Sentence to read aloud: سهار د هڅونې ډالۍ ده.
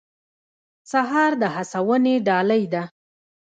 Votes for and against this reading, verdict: 1, 2, rejected